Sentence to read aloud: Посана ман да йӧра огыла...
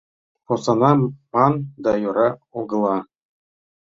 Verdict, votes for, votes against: rejected, 1, 2